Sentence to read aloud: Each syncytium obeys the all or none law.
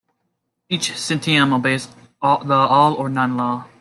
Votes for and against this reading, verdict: 1, 2, rejected